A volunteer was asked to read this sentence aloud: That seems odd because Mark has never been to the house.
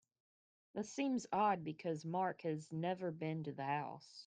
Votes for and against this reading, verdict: 2, 0, accepted